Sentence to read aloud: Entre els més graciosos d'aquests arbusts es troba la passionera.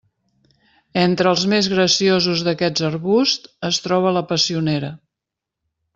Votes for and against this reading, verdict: 0, 2, rejected